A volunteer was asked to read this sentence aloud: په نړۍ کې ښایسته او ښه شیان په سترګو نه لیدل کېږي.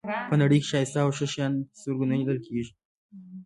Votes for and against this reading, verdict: 1, 2, rejected